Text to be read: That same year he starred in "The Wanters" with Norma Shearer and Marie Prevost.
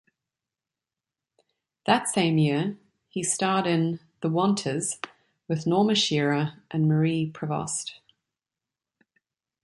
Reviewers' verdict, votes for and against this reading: accepted, 2, 0